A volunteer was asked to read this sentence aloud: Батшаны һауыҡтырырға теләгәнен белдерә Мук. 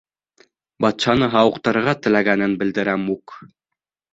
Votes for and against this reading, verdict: 2, 0, accepted